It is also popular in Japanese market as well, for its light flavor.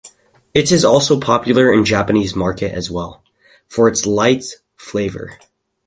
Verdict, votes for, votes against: accepted, 4, 0